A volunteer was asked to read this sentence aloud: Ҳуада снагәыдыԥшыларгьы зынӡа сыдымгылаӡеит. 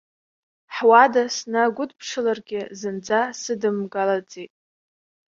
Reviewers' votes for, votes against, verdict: 2, 0, accepted